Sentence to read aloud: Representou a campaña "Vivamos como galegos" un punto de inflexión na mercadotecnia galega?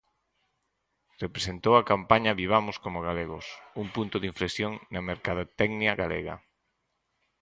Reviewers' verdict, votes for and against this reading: accepted, 4, 2